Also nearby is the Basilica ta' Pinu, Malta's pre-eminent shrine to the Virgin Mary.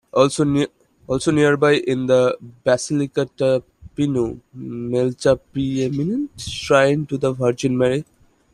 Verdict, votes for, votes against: rejected, 0, 2